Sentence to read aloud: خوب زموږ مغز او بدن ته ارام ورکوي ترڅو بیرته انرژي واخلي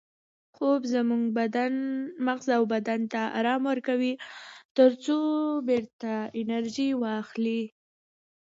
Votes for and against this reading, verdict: 2, 0, accepted